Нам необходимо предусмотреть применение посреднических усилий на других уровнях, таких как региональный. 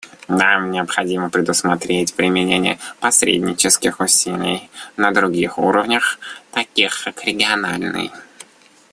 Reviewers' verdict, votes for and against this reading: rejected, 1, 2